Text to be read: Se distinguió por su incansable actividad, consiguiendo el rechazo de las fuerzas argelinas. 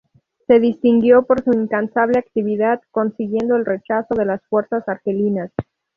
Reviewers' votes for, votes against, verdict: 2, 0, accepted